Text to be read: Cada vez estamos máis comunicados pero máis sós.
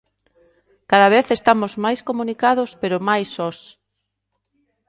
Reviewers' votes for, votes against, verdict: 2, 0, accepted